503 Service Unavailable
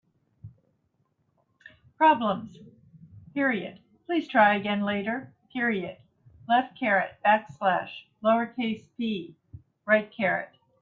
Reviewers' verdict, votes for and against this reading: rejected, 0, 2